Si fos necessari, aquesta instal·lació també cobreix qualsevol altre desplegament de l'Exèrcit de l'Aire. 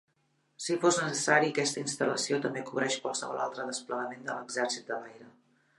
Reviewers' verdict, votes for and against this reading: accepted, 5, 2